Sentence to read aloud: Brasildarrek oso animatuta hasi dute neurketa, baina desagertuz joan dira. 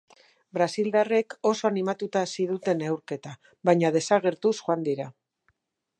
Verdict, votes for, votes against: accepted, 4, 0